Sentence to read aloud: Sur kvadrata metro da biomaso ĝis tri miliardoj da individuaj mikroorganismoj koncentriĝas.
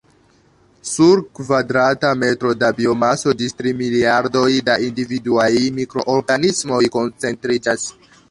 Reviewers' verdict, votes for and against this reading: rejected, 1, 2